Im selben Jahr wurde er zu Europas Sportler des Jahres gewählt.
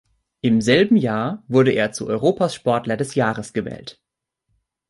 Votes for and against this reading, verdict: 2, 0, accepted